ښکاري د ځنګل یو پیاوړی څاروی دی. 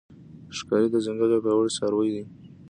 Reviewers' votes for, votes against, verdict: 2, 0, accepted